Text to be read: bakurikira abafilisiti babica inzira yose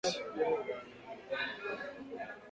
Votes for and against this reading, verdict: 0, 2, rejected